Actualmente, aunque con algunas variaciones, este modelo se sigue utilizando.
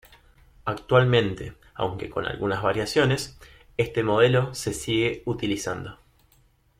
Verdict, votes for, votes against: accepted, 2, 0